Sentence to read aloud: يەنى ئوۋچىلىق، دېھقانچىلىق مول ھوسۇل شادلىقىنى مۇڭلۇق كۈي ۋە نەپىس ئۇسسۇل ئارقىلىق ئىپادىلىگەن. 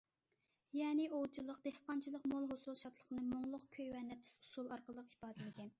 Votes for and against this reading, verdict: 2, 0, accepted